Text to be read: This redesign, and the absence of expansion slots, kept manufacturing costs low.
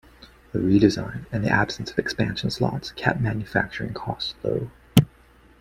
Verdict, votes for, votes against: rejected, 1, 2